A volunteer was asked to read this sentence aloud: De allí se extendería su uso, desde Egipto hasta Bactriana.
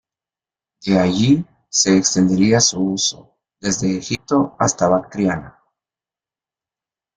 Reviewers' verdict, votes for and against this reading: accepted, 2, 0